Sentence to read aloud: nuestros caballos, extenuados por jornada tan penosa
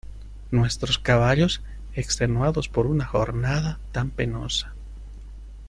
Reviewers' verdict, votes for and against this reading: rejected, 0, 2